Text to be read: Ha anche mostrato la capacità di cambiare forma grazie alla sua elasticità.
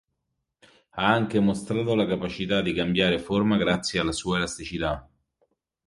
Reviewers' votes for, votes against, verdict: 3, 0, accepted